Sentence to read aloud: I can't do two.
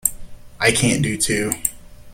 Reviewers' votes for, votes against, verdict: 2, 0, accepted